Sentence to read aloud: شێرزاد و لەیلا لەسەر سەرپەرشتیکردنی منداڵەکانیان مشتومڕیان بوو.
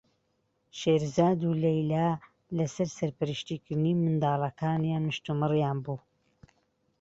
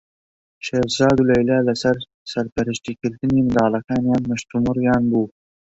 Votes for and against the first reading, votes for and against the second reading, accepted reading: 2, 1, 0, 2, first